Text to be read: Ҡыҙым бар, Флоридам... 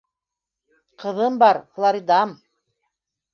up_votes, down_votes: 1, 2